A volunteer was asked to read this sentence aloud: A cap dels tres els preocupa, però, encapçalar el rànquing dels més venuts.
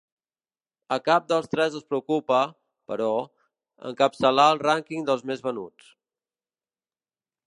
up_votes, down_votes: 2, 0